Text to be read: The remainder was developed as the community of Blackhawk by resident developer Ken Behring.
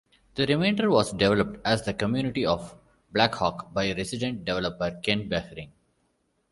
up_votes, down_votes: 1, 2